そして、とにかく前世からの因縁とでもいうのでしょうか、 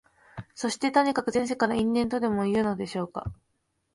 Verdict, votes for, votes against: accepted, 3, 0